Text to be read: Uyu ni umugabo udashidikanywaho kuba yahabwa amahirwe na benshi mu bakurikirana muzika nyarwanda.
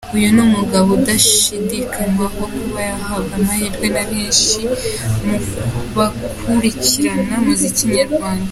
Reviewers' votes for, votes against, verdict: 2, 0, accepted